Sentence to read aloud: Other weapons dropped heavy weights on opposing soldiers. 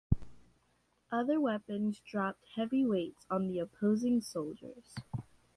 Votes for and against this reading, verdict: 0, 2, rejected